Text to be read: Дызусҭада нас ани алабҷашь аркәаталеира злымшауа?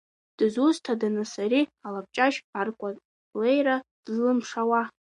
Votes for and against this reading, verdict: 1, 2, rejected